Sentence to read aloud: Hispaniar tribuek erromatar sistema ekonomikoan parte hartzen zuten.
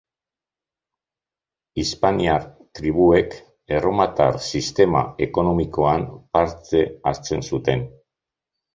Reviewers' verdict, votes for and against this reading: rejected, 0, 2